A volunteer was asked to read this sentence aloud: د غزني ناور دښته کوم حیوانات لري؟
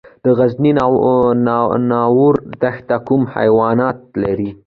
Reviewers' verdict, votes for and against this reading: accepted, 2, 0